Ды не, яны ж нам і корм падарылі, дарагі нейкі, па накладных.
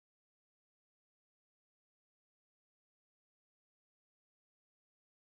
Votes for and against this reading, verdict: 0, 2, rejected